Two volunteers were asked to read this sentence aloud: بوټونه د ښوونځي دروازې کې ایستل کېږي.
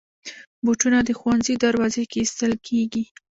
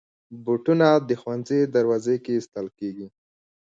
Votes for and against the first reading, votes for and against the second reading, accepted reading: 1, 2, 2, 1, second